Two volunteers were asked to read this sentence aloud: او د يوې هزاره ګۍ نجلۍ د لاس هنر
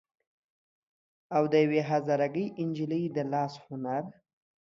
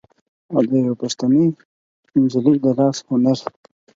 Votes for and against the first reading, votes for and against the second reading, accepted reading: 2, 0, 0, 4, first